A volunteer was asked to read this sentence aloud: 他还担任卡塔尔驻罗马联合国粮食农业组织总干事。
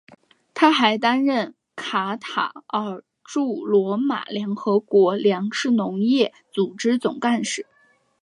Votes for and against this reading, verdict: 6, 0, accepted